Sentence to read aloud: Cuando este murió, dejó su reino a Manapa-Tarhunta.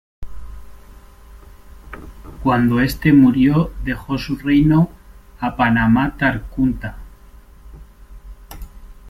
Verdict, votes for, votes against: rejected, 0, 2